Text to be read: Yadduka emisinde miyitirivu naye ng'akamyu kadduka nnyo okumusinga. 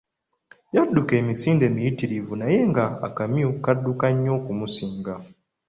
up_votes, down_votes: 3, 0